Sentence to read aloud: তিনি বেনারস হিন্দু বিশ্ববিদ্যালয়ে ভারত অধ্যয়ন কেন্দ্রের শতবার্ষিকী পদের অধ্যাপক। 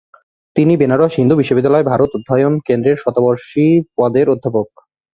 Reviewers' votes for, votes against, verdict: 0, 2, rejected